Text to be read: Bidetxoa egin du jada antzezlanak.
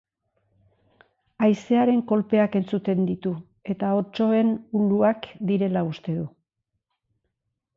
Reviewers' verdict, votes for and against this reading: rejected, 0, 3